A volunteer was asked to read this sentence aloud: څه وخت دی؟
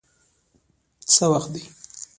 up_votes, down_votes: 0, 2